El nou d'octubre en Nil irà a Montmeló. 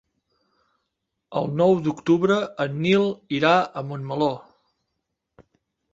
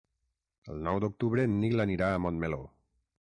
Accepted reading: first